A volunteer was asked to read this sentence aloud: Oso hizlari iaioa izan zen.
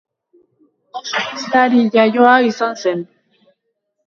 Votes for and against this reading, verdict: 1, 2, rejected